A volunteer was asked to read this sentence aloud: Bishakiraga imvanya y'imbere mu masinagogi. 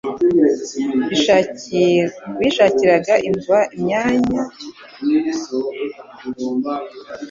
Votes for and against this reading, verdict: 1, 2, rejected